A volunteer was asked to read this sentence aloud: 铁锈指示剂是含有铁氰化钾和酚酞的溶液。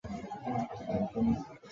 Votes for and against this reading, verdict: 0, 7, rejected